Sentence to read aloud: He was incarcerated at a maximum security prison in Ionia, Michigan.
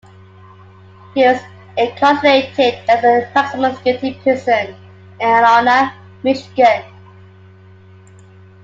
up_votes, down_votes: 2, 0